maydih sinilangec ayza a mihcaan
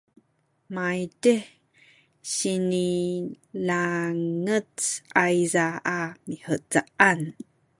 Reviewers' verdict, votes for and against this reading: rejected, 1, 2